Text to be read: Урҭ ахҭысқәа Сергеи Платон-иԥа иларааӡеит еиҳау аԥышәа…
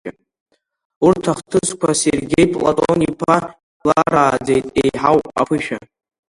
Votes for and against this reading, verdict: 0, 2, rejected